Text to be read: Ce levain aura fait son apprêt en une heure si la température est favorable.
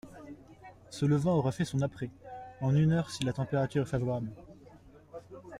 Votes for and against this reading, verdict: 0, 2, rejected